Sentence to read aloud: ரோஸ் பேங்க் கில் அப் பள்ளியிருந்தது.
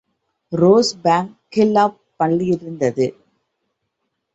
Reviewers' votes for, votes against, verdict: 2, 1, accepted